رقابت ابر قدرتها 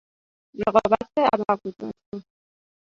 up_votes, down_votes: 0, 2